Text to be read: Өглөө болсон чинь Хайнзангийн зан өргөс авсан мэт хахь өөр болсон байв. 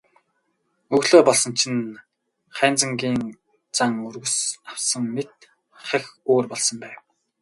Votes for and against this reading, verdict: 0, 2, rejected